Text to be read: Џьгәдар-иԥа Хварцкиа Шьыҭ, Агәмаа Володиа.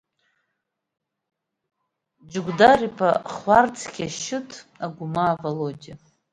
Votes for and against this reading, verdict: 0, 2, rejected